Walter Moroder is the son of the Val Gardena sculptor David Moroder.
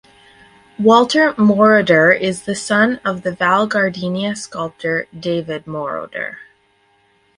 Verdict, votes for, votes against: rejected, 2, 2